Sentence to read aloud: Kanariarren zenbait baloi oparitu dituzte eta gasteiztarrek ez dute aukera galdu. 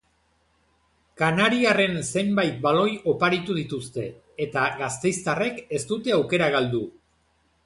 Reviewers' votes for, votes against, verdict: 2, 0, accepted